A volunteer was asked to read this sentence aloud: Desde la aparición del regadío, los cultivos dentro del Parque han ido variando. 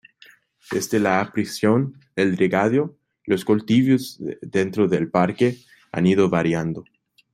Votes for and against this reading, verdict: 0, 2, rejected